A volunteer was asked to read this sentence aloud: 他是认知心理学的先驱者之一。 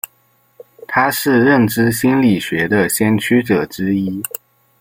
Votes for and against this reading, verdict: 0, 2, rejected